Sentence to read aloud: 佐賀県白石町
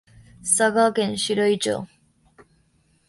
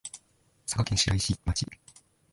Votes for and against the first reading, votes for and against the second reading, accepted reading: 1, 2, 3, 2, second